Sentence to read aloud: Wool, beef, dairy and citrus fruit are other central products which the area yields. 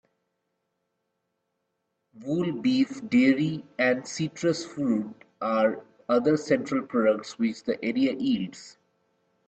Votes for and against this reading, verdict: 1, 2, rejected